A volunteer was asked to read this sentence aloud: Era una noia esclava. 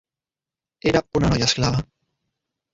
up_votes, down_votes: 1, 2